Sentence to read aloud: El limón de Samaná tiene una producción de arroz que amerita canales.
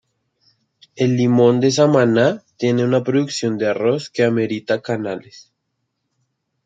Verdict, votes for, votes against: accepted, 2, 0